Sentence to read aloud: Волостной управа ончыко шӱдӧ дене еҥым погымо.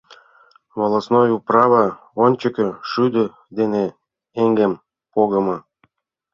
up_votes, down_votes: 0, 2